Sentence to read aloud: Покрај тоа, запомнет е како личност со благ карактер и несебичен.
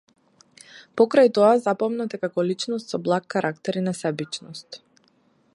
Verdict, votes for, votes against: rejected, 0, 2